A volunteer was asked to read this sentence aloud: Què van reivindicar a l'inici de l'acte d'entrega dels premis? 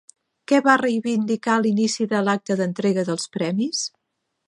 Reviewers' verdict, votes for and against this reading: rejected, 0, 2